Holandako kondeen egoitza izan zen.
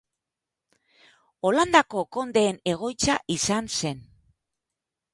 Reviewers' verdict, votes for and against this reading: rejected, 2, 3